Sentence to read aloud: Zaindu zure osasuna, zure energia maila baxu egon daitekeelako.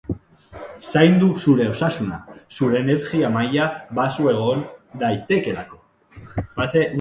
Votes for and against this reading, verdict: 0, 2, rejected